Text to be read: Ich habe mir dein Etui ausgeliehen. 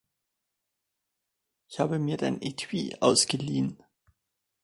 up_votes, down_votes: 1, 2